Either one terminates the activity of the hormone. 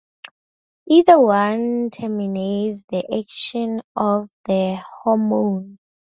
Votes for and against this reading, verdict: 0, 4, rejected